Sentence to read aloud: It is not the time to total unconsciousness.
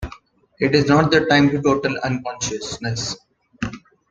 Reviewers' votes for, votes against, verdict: 0, 2, rejected